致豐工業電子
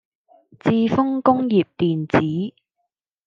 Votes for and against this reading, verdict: 2, 0, accepted